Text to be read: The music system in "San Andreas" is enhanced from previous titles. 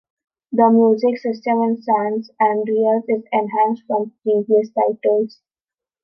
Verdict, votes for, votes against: rejected, 1, 3